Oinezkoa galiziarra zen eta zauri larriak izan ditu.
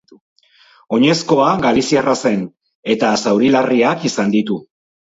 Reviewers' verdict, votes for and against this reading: rejected, 0, 2